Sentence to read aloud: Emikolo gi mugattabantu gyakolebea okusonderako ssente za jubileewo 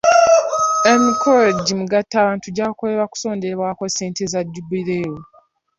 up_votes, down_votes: 2, 1